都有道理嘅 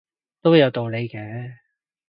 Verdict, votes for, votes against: accepted, 2, 0